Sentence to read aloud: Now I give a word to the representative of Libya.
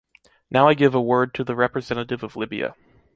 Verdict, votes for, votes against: accepted, 2, 1